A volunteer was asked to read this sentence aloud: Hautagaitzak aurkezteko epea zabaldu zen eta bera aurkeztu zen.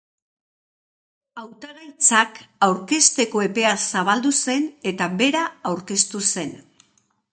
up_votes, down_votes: 2, 0